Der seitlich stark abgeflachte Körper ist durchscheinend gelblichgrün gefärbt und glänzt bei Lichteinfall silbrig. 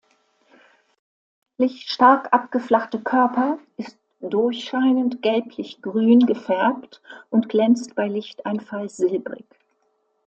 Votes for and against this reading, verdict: 0, 2, rejected